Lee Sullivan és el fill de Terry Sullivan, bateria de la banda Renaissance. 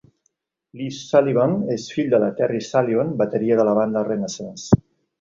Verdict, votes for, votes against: rejected, 0, 2